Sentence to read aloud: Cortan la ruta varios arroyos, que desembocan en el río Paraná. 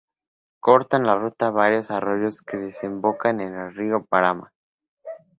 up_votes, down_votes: 4, 0